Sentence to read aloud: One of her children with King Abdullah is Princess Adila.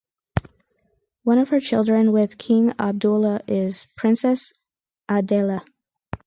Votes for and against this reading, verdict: 2, 4, rejected